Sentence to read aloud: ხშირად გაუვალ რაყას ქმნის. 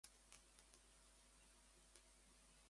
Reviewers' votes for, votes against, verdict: 0, 2, rejected